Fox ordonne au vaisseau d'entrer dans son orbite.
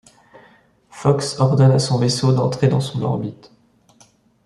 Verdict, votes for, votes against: rejected, 0, 2